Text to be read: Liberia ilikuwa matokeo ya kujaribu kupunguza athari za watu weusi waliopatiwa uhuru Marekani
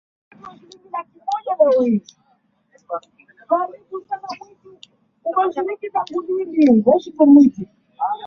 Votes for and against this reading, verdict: 0, 2, rejected